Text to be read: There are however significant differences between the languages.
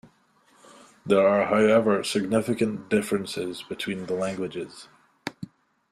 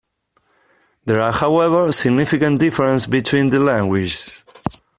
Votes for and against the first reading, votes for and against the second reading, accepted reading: 3, 0, 0, 2, first